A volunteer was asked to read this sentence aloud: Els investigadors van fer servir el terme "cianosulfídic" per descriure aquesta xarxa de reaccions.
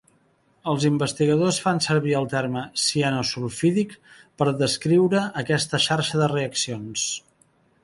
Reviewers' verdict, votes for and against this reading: rejected, 1, 2